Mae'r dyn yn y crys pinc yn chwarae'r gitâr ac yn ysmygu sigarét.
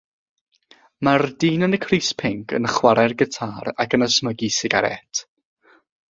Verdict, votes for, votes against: accepted, 6, 0